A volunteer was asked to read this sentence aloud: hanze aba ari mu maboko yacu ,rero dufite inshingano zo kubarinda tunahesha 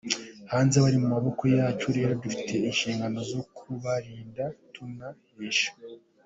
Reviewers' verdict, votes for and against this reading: rejected, 1, 2